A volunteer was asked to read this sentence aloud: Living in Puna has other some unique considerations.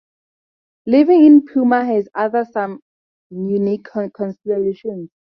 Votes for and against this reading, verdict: 0, 2, rejected